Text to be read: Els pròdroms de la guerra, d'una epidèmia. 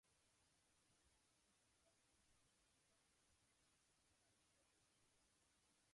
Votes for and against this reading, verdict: 1, 2, rejected